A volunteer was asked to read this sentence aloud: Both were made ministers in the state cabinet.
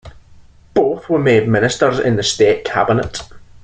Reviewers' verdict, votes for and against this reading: accepted, 2, 0